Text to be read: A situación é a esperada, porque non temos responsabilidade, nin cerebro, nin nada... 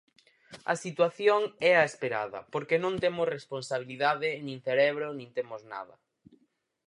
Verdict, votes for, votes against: rejected, 0, 4